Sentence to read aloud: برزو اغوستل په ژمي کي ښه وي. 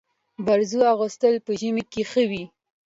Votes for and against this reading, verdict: 2, 0, accepted